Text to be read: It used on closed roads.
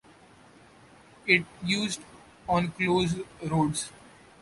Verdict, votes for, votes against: accepted, 2, 0